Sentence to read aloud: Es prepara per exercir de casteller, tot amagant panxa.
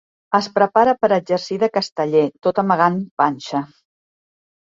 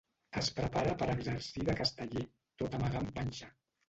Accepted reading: first